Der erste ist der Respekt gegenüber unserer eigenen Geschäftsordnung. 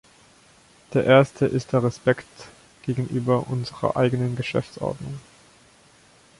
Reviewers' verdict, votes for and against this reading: accepted, 3, 0